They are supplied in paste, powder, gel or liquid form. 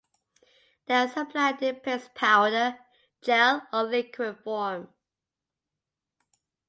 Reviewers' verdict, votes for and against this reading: accepted, 2, 0